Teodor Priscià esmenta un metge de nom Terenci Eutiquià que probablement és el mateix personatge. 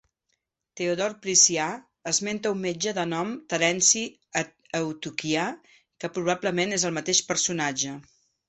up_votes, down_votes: 2, 1